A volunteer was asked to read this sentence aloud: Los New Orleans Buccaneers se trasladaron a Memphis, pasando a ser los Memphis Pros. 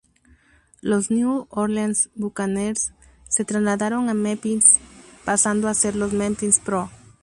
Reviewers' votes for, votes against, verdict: 0, 2, rejected